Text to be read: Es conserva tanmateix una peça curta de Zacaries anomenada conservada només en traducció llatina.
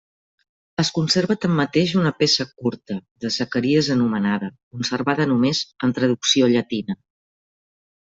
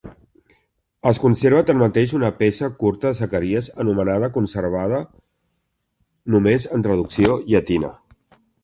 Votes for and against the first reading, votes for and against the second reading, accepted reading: 2, 0, 1, 2, first